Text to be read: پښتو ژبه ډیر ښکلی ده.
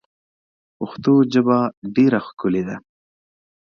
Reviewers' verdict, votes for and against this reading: accepted, 2, 1